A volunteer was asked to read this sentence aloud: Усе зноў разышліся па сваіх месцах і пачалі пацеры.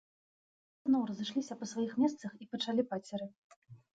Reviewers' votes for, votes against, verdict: 1, 2, rejected